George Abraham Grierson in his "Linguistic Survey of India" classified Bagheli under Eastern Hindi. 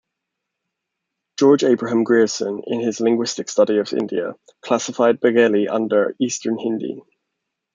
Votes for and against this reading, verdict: 1, 2, rejected